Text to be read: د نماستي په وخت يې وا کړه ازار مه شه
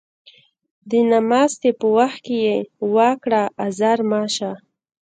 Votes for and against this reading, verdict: 1, 2, rejected